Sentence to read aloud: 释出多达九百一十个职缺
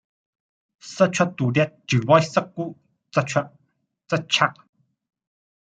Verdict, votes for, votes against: rejected, 1, 2